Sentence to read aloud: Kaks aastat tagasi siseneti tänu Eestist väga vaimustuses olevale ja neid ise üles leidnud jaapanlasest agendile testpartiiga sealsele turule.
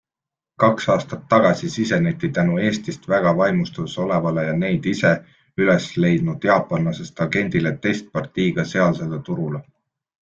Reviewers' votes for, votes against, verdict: 2, 0, accepted